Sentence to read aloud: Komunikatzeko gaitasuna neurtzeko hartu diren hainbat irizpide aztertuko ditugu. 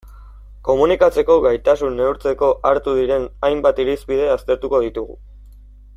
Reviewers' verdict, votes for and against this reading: rejected, 1, 2